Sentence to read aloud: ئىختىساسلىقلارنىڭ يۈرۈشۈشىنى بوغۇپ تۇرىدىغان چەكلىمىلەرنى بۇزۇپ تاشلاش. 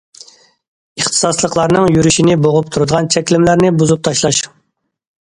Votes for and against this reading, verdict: 1, 2, rejected